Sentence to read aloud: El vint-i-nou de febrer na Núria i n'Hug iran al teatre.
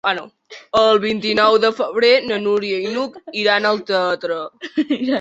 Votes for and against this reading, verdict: 1, 2, rejected